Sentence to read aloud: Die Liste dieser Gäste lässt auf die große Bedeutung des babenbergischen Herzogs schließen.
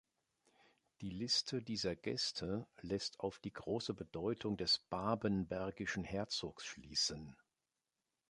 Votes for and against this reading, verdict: 2, 0, accepted